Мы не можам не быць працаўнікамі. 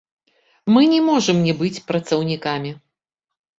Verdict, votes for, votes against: accepted, 3, 0